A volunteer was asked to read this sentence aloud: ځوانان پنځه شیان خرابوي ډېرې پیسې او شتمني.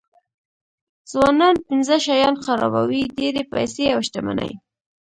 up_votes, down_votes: 1, 2